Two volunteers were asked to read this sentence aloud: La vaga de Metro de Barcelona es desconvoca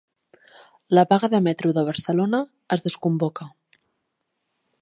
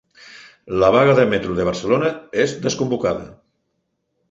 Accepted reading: first